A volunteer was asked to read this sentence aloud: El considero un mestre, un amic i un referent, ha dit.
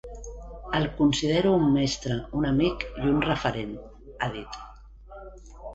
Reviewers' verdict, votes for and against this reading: accepted, 2, 0